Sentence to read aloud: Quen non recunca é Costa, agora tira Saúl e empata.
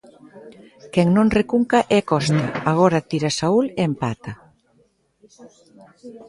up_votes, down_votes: 1, 2